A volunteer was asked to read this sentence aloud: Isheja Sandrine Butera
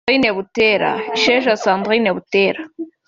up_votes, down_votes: 0, 2